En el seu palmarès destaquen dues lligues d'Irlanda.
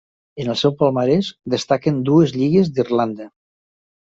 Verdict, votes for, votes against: accepted, 3, 1